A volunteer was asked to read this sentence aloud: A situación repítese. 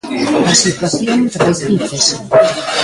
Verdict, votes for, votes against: rejected, 0, 2